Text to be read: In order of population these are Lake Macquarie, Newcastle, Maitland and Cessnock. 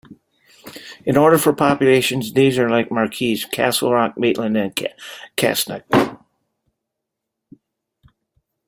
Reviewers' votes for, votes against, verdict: 0, 2, rejected